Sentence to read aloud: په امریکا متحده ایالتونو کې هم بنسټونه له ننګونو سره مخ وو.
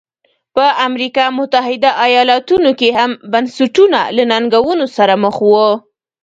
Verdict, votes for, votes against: rejected, 1, 2